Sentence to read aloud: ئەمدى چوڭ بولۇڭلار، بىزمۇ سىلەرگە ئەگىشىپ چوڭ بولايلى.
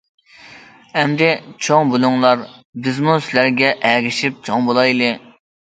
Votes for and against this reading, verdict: 2, 0, accepted